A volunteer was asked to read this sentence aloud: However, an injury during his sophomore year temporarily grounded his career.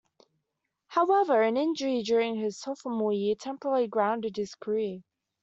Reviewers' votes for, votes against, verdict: 2, 0, accepted